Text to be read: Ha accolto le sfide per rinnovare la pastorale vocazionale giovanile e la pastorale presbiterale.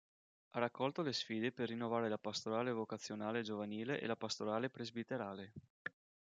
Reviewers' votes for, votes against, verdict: 2, 0, accepted